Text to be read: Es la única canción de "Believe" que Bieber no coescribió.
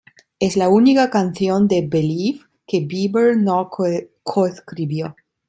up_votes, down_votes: 0, 2